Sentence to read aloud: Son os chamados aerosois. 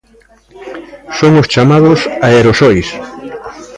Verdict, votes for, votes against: rejected, 0, 2